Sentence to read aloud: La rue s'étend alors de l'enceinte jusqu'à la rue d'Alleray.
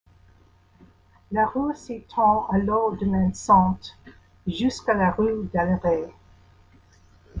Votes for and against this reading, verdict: 0, 2, rejected